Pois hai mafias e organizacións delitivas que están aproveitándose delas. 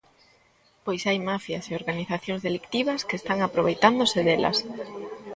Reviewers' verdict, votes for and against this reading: rejected, 1, 2